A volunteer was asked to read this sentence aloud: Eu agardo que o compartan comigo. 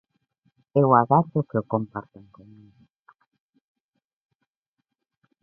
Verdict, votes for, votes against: rejected, 1, 2